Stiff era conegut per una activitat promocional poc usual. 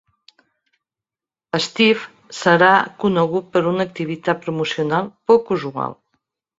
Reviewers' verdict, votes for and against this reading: rejected, 0, 4